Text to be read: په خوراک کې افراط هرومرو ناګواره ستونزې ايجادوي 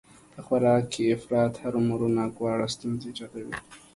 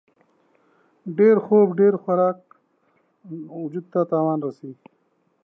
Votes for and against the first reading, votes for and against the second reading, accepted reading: 2, 0, 0, 2, first